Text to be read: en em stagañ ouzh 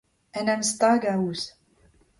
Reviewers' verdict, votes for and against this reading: accepted, 2, 0